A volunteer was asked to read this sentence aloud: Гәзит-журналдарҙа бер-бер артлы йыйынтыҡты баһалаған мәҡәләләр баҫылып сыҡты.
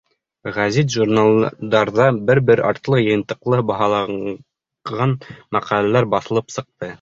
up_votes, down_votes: 1, 2